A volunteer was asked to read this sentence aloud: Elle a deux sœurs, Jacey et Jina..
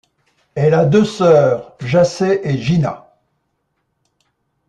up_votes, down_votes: 2, 0